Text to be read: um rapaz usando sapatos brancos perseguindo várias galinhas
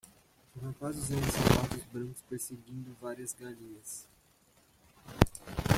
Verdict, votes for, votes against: rejected, 1, 2